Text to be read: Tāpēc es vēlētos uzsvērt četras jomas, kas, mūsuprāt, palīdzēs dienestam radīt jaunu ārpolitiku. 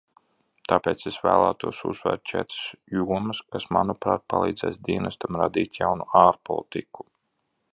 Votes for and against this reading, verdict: 1, 2, rejected